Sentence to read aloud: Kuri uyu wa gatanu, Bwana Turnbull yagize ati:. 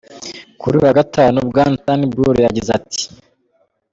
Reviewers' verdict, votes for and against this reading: accepted, 2, 0